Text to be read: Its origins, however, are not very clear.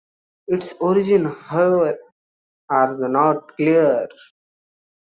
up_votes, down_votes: 1, 2